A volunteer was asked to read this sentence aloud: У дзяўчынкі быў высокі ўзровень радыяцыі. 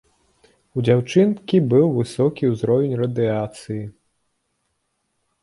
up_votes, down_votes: 1, 2